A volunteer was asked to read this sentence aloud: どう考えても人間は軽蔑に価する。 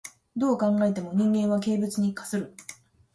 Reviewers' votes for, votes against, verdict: 1, 2, rejected